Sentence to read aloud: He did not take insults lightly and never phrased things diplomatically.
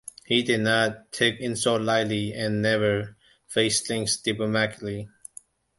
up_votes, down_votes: 1, 2